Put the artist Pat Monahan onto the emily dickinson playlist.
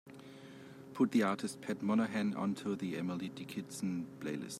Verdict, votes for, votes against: accepted, 2, 0